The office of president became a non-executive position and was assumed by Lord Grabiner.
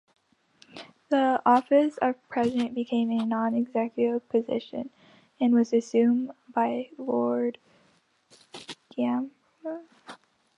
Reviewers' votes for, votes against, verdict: 0, 2, rejected